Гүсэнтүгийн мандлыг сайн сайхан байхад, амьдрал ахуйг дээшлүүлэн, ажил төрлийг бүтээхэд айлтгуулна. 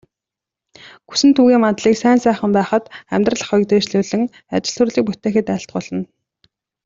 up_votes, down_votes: 2, 0